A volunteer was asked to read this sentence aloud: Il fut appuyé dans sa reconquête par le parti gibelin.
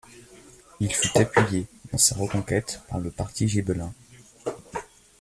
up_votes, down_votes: 1, 2